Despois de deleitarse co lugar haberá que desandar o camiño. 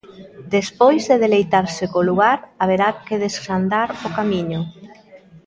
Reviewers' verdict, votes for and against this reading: rejected, 1, 2